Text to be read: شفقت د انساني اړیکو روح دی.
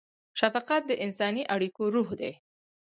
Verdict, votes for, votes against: rejected, 2, 4